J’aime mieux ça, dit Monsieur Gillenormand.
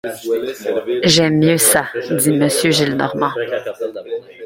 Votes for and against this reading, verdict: 2, 0, accepted